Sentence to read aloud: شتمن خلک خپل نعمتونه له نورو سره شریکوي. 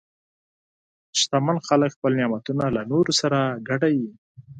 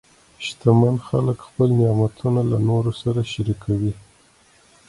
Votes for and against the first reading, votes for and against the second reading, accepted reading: 4, 6, 2, 0, second